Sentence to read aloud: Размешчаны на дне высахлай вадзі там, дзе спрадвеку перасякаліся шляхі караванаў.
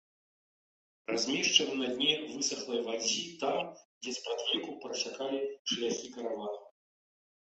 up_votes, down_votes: 0, 2